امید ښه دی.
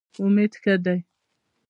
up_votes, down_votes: 2, 0